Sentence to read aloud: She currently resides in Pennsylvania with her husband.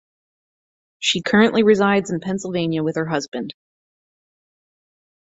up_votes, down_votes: 4, 0